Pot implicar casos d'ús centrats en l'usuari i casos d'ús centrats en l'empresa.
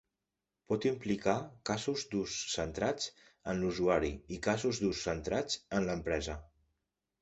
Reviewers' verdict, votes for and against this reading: accepted, 2, 0